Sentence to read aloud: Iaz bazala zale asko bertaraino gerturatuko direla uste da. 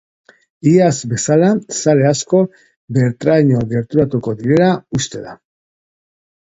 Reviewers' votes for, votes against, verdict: 2, 2, rejected